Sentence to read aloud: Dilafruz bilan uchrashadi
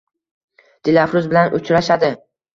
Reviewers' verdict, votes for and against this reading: accepted, 2, 0